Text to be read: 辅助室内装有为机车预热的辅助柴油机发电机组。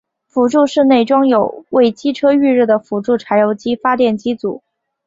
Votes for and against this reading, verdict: 6, 0, accepted